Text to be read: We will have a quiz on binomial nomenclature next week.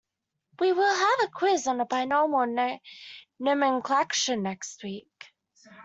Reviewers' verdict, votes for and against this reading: rejected, 0, 2